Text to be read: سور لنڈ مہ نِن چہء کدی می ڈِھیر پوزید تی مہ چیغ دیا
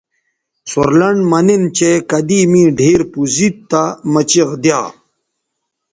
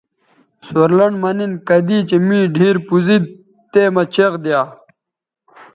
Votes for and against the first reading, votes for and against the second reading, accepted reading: 2, 0, 1, 2, first